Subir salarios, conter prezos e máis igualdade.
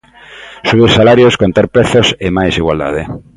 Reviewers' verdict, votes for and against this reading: accepted, 2, 0